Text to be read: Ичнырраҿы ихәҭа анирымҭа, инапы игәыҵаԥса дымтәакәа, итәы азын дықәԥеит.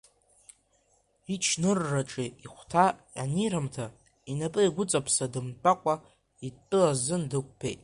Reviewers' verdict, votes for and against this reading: rejected, 1, 2